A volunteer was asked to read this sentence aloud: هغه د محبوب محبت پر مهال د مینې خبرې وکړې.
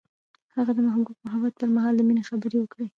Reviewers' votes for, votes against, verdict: 1, 2, rejected